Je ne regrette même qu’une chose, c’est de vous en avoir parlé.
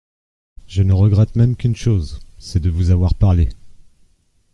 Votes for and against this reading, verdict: 0, 2, rejected